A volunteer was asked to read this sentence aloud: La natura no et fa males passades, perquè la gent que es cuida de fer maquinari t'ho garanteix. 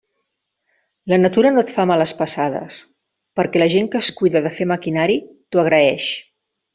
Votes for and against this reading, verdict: 1, 2, rejected